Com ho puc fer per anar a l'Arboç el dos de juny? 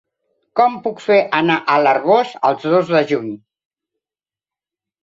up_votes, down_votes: 0, 2